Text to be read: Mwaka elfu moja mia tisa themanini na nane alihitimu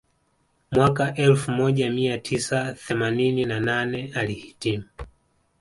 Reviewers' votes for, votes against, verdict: 1, 2, rejected